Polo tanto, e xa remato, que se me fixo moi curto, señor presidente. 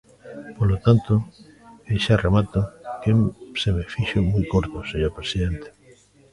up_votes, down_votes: 0, 2